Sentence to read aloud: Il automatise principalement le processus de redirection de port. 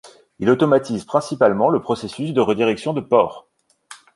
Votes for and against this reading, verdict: 2, 0, accepted